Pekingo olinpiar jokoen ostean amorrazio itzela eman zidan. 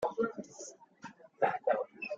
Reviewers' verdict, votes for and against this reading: rejected, 0, 2